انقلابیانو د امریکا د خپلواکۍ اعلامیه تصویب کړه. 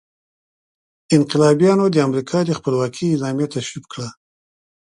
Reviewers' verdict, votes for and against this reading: accepted, 2, 0